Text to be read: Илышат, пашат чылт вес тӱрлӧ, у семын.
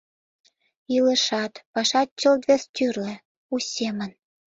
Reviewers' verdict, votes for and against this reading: accepted, 2, 0